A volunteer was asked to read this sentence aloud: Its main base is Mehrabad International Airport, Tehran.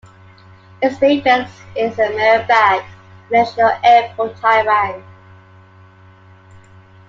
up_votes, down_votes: 0, 2